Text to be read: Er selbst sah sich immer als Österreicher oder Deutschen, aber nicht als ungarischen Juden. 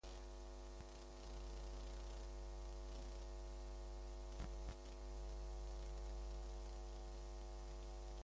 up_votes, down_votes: 0, 2